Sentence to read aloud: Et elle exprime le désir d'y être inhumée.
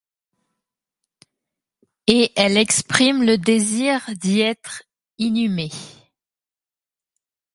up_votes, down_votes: 2, 0